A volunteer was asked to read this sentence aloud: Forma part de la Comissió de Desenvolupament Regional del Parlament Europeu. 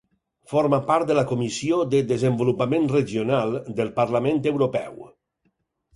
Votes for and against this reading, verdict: 4, 0, accepted